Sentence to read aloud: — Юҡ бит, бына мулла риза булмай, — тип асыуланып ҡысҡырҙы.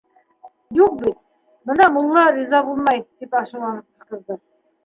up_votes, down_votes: 3, 2